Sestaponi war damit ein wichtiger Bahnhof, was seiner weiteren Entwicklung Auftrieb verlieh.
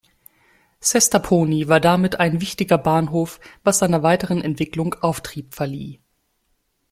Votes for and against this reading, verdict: 2, 0, accepted